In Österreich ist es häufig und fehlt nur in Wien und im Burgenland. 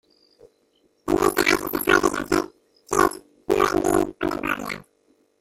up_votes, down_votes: 0, 2